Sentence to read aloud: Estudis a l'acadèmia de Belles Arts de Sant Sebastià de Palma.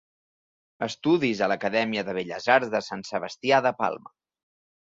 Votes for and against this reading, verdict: 2, 0, accepted